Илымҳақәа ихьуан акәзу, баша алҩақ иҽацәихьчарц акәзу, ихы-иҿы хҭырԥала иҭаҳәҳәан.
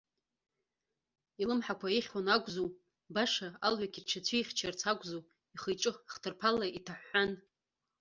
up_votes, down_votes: 1, 2